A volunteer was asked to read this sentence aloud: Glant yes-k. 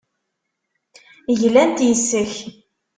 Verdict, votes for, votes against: accepted, 2, 0